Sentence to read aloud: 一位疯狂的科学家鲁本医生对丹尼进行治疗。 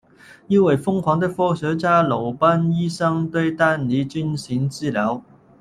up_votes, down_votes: 1, 2